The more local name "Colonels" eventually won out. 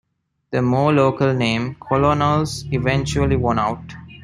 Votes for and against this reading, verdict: 1, 2, rejected